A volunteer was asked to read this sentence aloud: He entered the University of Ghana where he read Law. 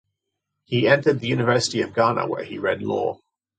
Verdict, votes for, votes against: accepted, 2, 0